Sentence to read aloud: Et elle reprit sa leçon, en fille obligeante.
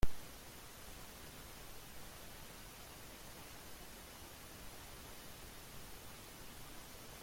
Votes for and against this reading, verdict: 0, 2, rejected